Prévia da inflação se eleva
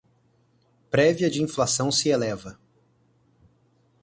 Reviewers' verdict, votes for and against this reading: rejected, 2, 2